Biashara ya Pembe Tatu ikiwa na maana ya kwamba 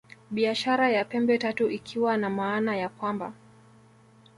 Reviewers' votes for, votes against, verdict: 0, 2, rejected